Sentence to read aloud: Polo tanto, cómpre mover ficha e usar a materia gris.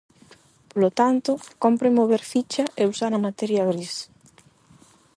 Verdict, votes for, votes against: accepted, 8, 0